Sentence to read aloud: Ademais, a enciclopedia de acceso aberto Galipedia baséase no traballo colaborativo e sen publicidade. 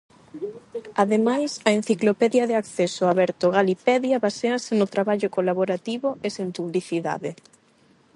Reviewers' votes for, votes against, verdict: 4, 4, rejected